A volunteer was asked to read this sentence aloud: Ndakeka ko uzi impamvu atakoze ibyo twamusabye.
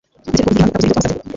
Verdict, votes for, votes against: rejected, 0, 2